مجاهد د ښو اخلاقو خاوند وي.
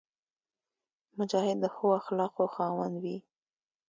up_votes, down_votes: 2, 0